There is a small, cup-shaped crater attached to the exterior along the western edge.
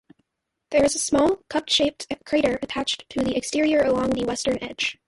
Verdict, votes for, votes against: accepted, 2, 0